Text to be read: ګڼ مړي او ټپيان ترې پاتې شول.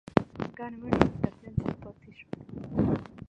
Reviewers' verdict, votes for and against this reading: rejected, 0, 2